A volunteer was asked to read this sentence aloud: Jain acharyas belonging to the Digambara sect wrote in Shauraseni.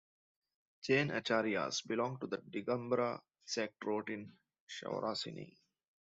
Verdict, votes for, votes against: rejected, 0, 2